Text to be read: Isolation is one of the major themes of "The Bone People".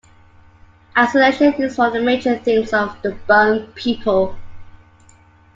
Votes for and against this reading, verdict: 2, 1, accepted